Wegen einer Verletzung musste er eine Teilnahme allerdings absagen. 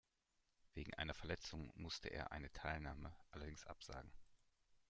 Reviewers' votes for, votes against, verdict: 2, 1, accepted